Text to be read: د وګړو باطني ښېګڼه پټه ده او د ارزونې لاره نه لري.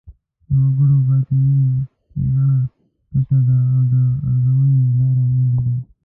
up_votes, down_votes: 2, 3